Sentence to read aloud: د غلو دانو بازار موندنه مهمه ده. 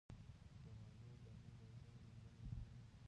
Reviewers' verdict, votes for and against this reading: rejected, 1, 2